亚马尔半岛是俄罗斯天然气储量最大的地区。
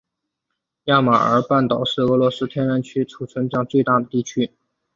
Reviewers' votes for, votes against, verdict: 2, 1, accepted